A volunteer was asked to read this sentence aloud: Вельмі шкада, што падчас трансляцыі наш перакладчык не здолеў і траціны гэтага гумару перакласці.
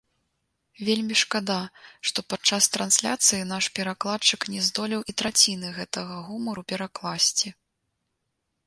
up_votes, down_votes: 2, 0